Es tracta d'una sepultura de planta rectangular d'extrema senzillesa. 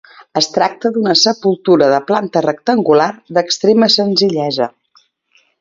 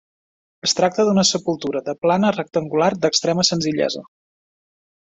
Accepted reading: first